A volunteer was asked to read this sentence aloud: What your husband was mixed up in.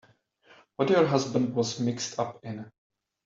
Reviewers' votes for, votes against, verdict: 3, 0, accepted